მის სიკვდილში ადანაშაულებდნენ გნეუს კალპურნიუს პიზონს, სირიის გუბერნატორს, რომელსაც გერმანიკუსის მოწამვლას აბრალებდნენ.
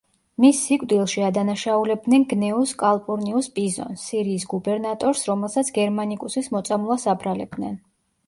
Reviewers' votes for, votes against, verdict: 2, 0, accepted